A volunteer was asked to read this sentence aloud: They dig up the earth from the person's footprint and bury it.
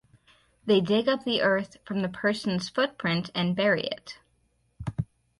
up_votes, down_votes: 2, 2